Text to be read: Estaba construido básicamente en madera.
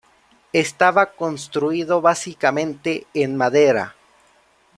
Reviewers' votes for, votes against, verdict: 2, 0, accepted